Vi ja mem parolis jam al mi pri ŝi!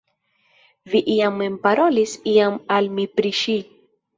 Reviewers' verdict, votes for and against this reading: rejected, 1, 2